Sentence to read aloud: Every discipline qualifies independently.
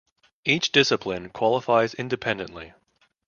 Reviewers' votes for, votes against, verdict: 0, 2, rejected